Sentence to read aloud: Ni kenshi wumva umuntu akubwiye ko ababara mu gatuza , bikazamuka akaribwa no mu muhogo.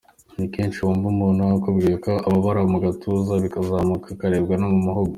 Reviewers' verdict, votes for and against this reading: accepted, 2, 0